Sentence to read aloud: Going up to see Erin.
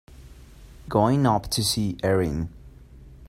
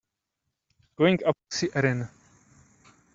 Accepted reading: first